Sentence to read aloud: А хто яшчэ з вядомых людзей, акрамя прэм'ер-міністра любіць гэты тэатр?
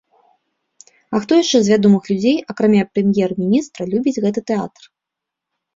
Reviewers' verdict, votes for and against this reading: accepted, 2, 0